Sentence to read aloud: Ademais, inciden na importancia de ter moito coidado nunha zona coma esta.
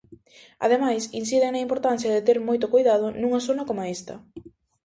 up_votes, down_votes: 2, 0